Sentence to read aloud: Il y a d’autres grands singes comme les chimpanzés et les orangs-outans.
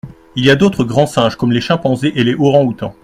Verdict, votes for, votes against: accepted, 2, 1